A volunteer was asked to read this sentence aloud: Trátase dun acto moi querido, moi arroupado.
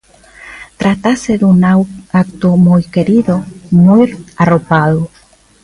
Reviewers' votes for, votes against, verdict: 0, 2, rejected